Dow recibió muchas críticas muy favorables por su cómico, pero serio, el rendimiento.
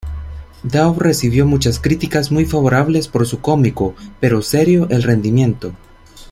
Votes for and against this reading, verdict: 2, 0, accepted